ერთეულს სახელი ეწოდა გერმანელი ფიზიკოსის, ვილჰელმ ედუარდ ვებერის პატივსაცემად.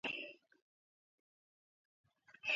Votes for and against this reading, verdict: 0, 2, rejected